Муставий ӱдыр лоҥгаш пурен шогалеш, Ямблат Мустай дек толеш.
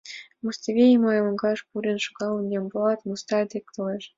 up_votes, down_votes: 0, 3